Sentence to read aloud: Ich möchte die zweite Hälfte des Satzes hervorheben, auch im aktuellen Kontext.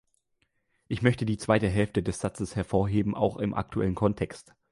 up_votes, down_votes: 2, 0